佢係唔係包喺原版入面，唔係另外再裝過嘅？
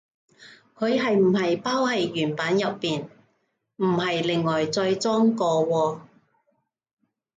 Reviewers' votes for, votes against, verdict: 0, 2, rejected